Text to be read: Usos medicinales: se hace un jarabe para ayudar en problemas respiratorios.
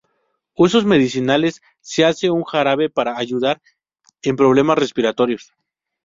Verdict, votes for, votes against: accepted, 4, 0